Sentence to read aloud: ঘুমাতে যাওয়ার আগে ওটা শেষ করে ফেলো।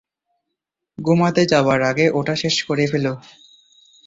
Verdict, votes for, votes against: accepted, 2, 0